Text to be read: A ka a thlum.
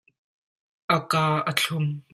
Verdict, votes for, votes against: accepted, 2, 0